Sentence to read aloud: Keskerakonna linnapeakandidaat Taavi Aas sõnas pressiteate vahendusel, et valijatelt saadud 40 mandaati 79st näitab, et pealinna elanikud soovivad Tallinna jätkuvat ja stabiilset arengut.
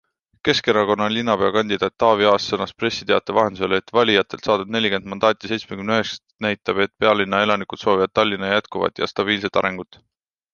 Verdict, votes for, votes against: rejected, 0, 2